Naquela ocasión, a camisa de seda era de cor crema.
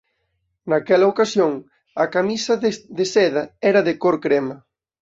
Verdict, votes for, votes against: rejected, 1, 2